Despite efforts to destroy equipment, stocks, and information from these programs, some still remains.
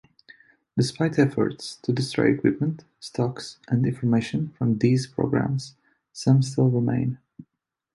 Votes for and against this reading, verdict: 0, 2, rejected